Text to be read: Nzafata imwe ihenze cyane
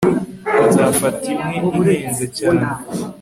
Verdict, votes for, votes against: accepted, 3, 0